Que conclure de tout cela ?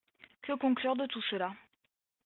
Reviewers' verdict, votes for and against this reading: accepted, 2, 1